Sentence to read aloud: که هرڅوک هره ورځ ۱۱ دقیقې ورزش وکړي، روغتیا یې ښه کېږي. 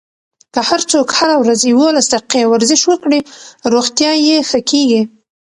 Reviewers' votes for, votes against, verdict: 0, 2, rejected